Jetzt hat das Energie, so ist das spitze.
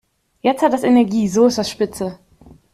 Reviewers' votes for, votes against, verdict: 2, 0, accepted